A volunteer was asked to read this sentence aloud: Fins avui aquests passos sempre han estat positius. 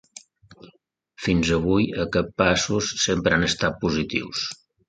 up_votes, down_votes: 2, 0